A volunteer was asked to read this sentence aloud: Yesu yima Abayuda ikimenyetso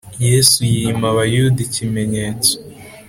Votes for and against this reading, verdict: 2, 0, accepted